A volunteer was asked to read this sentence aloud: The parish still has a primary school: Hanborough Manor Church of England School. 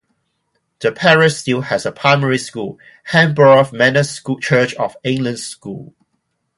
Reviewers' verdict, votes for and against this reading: accepted, 2, 0